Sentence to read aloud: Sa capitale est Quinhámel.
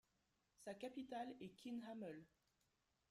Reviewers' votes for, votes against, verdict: 2, 1, accepted